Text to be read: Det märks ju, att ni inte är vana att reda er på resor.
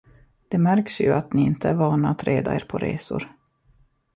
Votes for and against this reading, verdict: 2, 0, accepted